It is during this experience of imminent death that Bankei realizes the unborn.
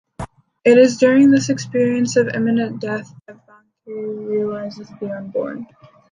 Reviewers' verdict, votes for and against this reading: rejected, 1, 2